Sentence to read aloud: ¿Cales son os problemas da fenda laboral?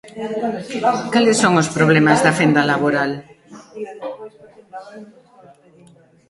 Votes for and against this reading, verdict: 0, 2, rejected